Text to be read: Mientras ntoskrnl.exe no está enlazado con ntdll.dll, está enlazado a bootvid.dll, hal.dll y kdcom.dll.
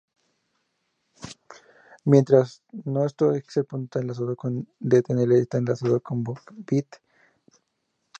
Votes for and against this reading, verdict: 2, 0, accepted